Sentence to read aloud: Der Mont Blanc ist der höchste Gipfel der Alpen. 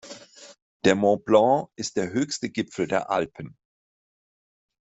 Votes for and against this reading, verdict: 2, 0, accepted